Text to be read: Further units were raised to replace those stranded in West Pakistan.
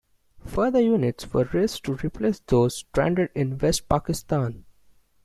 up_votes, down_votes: 2, 0